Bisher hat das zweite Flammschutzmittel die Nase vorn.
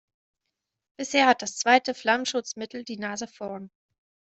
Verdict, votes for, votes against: accepted, 2, 0